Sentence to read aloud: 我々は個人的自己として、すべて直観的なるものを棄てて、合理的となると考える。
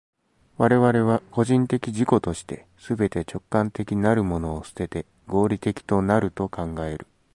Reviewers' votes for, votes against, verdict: 2, 0, accepted